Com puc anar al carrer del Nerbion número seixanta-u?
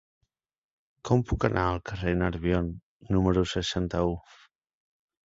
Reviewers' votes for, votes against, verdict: 1, 2, rejected